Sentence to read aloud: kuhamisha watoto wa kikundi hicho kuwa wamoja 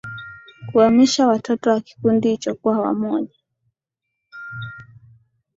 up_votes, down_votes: 2, 0